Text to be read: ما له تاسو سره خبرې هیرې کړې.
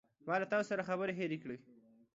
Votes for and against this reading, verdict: 3, 0, accepted